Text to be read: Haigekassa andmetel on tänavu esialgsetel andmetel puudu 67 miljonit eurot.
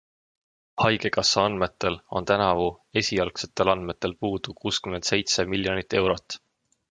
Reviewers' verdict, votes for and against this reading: rejected, 0, 2